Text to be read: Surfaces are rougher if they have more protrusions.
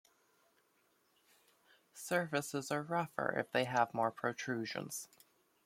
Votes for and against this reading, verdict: 1, 2, rejected